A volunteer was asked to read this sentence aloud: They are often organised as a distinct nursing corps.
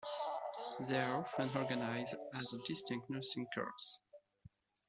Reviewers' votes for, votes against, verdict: 0, 2, rejected